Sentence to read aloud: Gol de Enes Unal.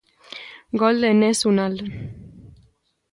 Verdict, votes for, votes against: accepted, 2, 0